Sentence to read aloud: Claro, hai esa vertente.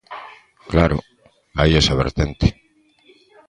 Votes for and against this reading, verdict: 2, 0, accepted